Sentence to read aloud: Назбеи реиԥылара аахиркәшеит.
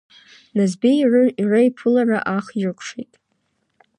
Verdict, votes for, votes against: rejected, 2, 3